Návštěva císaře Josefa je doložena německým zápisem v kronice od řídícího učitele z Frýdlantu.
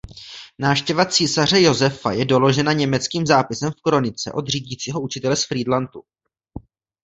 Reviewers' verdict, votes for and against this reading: accepted, 2, 0